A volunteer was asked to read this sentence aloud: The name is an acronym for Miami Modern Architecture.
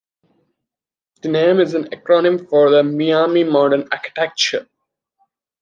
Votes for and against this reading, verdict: 1, 2, rejected